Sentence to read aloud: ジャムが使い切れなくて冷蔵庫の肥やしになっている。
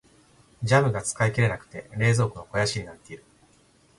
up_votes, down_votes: 2, 0